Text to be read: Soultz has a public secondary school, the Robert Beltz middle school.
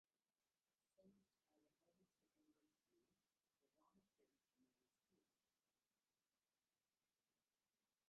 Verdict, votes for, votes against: rejected, 0, 2